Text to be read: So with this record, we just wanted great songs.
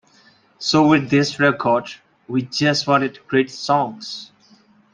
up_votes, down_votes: 2, 0